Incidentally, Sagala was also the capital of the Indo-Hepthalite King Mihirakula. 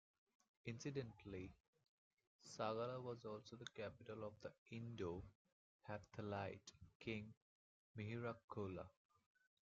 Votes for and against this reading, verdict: 0, 2, rejected